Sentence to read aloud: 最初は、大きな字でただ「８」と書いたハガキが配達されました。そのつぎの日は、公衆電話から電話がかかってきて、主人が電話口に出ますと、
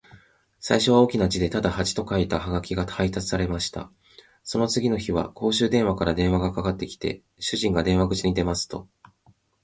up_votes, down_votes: 0, 2